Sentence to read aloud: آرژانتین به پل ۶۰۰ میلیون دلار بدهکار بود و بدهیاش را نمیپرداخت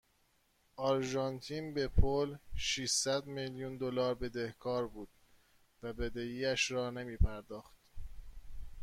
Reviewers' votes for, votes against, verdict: 0, 2, rejected